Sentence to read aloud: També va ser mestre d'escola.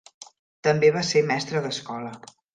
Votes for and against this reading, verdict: 2, 0, accepted